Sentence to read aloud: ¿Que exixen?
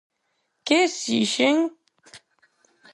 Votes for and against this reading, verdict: 4, 0, accepted